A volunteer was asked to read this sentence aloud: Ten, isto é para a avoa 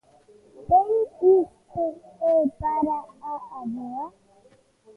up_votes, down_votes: 0, 2